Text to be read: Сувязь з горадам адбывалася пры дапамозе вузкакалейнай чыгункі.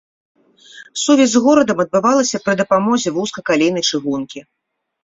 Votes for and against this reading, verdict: 2, 0, accepted